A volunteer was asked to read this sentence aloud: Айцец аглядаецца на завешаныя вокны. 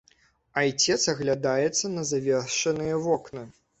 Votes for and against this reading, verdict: 1, 2, rejected